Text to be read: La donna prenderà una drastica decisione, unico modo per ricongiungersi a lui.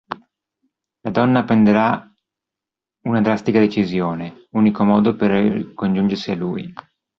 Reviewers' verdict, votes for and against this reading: rejected, 1, 2